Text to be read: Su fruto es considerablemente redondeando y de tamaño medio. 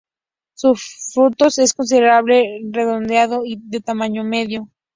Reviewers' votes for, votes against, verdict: 0, 2, rejected